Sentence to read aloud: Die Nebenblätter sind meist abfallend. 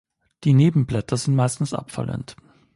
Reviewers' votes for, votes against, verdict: 2, 3, rejected